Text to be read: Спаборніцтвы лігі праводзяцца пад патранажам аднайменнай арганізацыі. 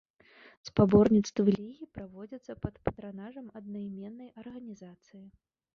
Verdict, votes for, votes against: rejected, 1, 2